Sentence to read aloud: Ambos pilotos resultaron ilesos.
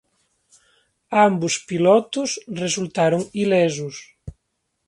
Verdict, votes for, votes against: rejected, 1, 2